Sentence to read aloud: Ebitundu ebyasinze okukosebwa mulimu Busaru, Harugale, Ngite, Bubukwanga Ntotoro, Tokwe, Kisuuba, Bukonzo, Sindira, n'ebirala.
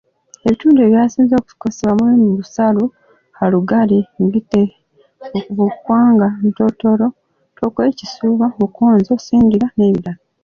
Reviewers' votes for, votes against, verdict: 1, 2, rejected